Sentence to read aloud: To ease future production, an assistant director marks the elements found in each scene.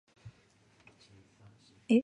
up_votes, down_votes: 0, 2